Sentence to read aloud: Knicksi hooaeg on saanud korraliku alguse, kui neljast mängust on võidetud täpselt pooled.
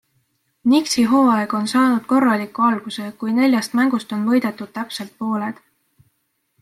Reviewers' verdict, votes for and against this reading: accepted, 2, 0